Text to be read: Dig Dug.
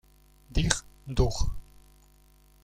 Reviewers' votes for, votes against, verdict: 2, 1, accepted